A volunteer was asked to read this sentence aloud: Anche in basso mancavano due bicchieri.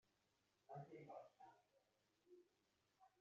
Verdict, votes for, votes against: rejected, 0, 2